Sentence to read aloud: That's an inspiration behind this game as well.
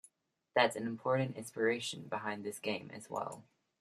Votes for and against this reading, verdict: 1, 2, rejected